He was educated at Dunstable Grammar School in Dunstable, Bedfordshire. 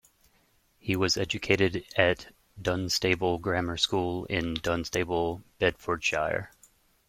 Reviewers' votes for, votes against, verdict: 0, 2, rejected